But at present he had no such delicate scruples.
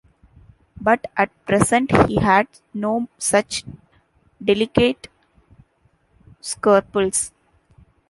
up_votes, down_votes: 1, 2